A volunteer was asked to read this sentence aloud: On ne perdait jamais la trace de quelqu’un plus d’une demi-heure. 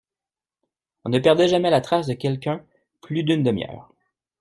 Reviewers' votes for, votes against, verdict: 2, 0, accepted